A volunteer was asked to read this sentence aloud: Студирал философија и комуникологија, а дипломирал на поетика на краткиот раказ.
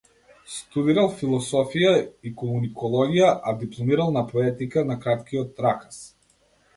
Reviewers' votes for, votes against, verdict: 0, 2, rejected